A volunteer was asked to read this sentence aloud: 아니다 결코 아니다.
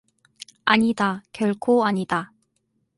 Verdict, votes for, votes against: accepted, 4, 0